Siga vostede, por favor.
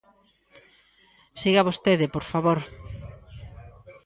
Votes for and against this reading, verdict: 1, 2, rejected